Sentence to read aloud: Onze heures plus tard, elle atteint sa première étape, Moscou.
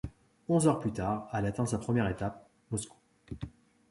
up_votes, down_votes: 1, 2